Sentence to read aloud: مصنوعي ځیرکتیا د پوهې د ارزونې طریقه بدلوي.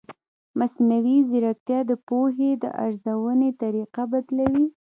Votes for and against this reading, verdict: 1, 2, rejected